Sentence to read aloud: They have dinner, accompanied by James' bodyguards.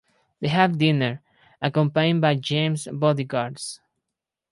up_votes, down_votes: 2, 2